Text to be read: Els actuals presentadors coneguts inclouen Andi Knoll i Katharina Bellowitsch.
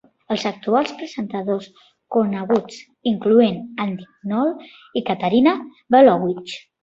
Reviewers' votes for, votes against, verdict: 0, 2, rejected